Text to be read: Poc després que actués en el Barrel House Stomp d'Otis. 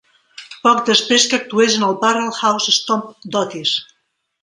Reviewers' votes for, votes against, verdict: 2, 0, accepted